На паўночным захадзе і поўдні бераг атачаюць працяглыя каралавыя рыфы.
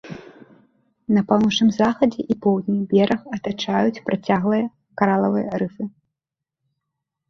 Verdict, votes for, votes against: rejected, 1, 2